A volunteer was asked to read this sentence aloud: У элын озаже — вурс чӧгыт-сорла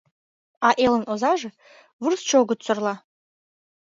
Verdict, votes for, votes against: rejected, 1, 2